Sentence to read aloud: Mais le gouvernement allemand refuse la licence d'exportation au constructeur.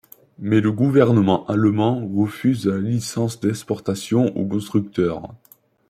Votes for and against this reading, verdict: 0, 2, rejected